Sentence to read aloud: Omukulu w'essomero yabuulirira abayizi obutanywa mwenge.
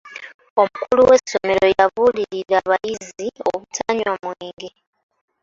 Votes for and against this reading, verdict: 2, 0, accepted